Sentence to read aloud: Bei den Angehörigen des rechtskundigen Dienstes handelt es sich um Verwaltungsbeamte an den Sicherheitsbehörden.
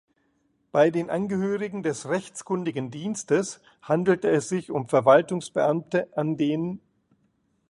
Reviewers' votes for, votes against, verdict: 0, 2, rejected